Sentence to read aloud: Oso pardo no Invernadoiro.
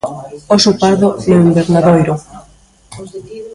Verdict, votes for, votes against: rejected, 1, 2